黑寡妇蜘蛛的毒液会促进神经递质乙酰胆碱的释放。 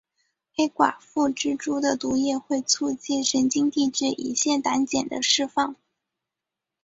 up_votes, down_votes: 2, 2